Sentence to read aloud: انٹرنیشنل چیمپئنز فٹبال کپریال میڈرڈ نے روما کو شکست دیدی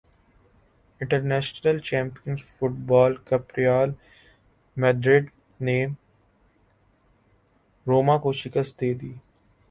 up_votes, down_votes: 0, 2